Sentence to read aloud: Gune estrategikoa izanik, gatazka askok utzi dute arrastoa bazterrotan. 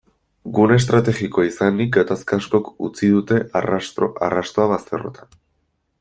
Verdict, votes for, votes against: rejected, 0, 2